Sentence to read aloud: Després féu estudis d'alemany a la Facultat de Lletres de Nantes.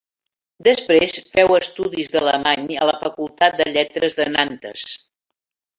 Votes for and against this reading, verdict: 3, 0, accepted